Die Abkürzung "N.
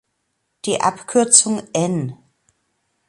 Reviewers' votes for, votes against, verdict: 2, 0, accepted